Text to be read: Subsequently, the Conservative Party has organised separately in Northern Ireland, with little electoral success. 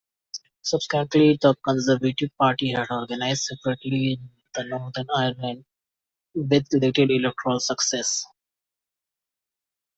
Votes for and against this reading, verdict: 0, 2, rejected